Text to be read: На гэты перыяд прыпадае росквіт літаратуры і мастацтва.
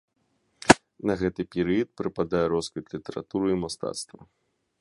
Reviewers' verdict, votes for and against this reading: accepted, 2, 0